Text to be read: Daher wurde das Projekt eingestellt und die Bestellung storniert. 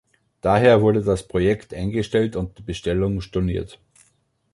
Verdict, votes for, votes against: accepted, 2, 1